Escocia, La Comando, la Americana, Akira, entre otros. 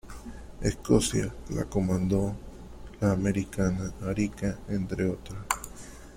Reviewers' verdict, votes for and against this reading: rejected, 0, 2